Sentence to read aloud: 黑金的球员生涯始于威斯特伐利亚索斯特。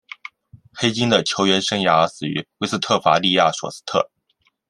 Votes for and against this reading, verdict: 2, 0, accepted